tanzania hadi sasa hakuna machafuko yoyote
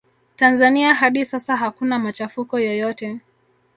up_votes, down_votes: 1, 2